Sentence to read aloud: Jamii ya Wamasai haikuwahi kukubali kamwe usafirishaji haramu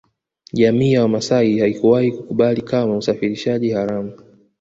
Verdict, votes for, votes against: accepted, 2, 1